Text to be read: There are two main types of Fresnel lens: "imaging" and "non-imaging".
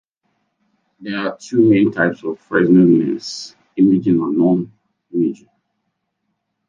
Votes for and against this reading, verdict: 1, 2, rejected